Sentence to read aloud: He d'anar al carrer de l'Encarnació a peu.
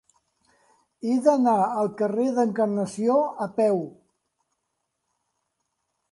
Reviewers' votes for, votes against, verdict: 2, 0, accepted